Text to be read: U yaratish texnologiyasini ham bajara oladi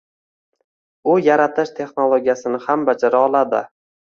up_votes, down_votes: 2, 0